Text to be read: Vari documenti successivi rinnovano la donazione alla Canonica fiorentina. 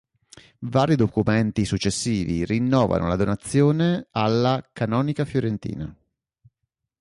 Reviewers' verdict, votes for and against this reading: accepted, 2, 0